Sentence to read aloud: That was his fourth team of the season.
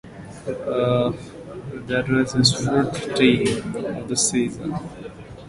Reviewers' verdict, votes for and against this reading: rejected, 0, 2